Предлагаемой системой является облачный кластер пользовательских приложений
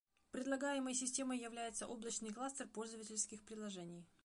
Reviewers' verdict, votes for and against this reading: rejected, 0, 2